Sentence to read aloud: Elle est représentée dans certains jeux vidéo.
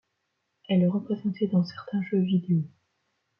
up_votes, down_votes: 2, 0